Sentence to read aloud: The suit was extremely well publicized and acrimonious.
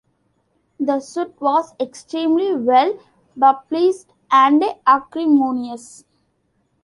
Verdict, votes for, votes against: rejected, 0, 2